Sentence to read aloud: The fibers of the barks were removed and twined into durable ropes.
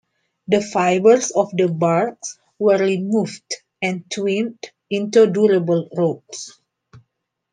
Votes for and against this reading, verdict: 2, 0, accepted